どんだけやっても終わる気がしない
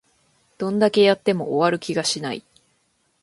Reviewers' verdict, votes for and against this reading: accepted, 2, 0